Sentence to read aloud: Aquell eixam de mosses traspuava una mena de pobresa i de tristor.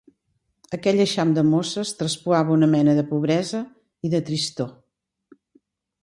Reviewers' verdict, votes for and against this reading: accepted, 3, 0